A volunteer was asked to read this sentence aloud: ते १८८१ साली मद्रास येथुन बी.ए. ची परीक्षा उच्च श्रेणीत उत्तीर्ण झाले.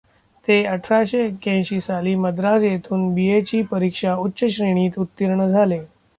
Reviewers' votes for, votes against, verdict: 0, 2, rejected